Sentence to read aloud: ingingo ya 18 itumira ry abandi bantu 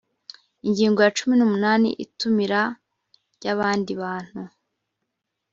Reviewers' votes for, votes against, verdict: 0, 2, rejected